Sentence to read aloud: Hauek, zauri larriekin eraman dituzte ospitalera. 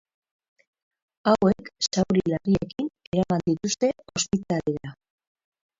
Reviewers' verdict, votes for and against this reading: rejected, 0, 6